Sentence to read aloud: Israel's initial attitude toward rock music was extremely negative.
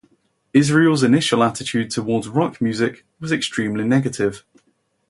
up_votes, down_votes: 2, 0